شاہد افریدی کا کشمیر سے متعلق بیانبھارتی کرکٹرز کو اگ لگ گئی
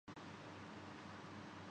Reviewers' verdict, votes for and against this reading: rejected, 0, 3